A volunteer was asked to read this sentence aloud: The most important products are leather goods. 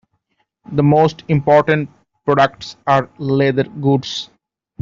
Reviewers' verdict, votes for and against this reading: rejected, 1, 2